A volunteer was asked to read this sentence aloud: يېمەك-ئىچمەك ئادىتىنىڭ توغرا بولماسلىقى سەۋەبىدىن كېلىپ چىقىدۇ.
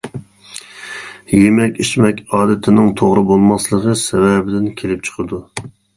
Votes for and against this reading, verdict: 1, 2, rejected